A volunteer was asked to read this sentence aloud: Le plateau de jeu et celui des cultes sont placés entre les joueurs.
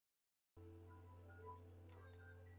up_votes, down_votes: 0, 2